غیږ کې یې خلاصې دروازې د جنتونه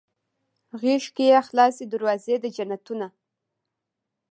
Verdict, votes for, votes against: rejected, 1, 2